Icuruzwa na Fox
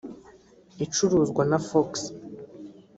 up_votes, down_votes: 1, 2